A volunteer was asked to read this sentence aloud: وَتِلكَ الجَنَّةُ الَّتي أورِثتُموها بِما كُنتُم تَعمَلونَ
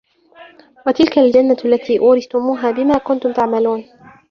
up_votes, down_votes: 1, 2